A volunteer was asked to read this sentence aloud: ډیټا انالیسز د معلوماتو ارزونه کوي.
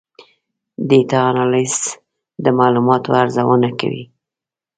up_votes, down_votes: 2, 0